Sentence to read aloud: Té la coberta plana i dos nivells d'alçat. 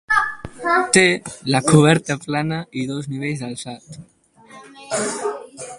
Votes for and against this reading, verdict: 2, 2, rejected